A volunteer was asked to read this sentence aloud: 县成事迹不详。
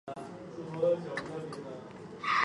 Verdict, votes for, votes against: rejected, 0, 2